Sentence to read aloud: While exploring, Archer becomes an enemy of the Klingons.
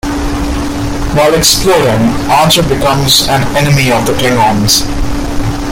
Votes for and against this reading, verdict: 2, 1, accepted